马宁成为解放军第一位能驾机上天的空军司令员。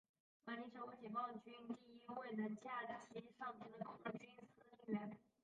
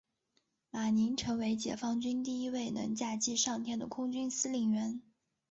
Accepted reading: second